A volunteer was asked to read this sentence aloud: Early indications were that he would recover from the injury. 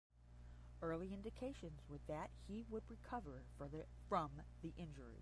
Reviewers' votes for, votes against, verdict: 0, 10, rejected